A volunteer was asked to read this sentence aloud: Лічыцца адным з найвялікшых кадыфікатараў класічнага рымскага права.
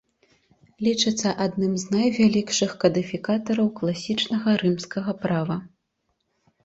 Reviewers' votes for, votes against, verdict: 2, 0, accepted